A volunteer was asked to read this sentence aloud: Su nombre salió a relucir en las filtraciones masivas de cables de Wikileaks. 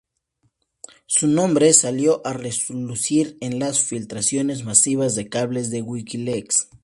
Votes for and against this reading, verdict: 2, 0, accepted